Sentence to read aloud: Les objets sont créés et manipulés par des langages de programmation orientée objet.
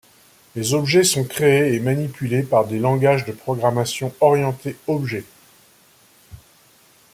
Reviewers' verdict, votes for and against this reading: accepted, 2, 0